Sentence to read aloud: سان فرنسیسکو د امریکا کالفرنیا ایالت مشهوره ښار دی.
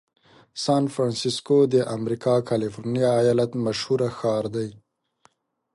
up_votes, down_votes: 3, 0